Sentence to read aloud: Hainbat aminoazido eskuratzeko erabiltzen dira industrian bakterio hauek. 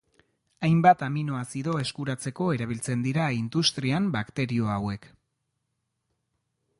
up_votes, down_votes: 2, 0